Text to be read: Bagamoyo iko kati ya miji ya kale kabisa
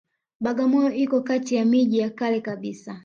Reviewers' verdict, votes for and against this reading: accepted, 2, 0